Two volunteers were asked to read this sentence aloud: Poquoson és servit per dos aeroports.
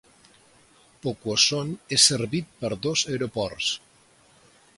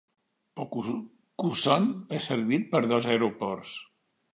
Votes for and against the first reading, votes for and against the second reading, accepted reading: 2, 0, 0, 2, first